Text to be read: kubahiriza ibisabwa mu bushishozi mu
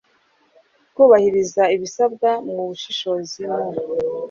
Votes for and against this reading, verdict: 2, 0, accepted